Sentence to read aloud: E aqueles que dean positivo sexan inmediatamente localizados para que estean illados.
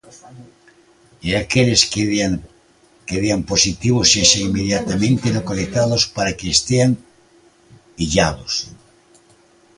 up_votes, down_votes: 0, 2